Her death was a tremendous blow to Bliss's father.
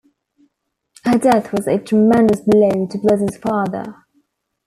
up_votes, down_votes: 1, 2